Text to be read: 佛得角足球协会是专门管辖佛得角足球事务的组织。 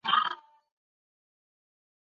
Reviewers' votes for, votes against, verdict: 0, 2, rejected